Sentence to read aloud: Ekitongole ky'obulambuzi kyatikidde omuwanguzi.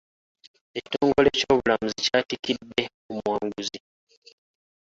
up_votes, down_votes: 1, 2